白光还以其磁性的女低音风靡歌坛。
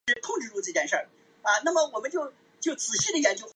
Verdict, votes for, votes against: rejected, 0, 3